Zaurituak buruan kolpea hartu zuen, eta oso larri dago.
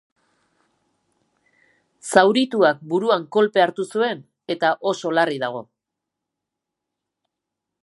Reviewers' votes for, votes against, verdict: 2, 0, accepted